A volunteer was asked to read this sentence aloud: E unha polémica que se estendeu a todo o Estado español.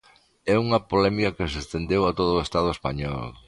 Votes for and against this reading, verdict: 2, 1, accepted